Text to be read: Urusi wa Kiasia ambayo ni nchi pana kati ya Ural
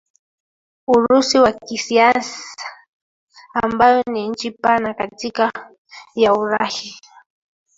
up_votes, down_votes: 1, 2